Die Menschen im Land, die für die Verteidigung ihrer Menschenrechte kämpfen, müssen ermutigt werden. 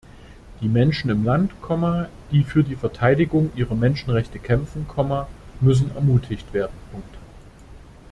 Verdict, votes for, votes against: rejected, 1, 2